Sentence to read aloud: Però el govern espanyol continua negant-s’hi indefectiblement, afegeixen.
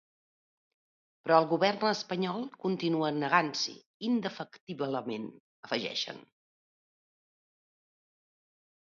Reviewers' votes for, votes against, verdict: 2, 0, accepted